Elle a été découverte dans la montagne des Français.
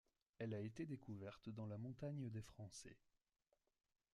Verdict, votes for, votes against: accepted, 2, 0